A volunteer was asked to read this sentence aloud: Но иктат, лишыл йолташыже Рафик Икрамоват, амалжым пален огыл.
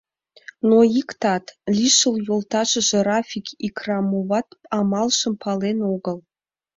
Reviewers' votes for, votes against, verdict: 2, 0, accepted